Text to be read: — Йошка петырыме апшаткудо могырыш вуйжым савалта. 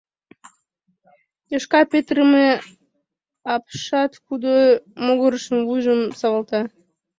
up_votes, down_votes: 0, 2